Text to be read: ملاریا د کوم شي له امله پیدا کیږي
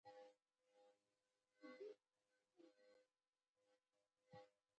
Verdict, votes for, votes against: rejected, 1, 2